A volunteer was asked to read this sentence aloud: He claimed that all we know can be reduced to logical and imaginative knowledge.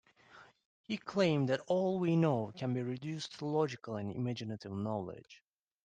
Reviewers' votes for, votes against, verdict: 2, 0, accepted